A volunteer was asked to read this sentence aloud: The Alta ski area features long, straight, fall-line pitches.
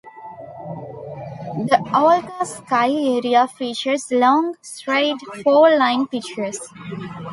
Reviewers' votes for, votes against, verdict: 1, 2, rejected